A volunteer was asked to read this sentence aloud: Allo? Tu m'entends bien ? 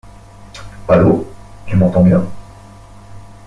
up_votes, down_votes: 1, 2